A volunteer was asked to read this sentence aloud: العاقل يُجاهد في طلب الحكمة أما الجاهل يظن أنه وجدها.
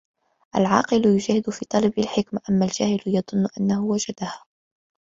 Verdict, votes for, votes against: accepted, 2, 1